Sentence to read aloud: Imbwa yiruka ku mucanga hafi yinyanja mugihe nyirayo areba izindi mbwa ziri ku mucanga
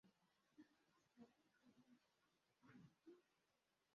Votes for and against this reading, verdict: 0, 2, rejected